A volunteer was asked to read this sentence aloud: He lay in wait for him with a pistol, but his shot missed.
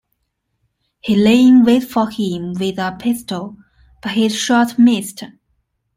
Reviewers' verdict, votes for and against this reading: accepted, 2, 0